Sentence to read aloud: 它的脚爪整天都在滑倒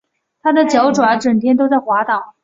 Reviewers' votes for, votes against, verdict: 2, 0, accepted